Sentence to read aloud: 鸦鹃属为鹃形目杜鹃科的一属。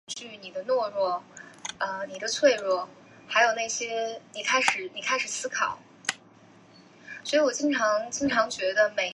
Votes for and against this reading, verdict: 0, 2, rejected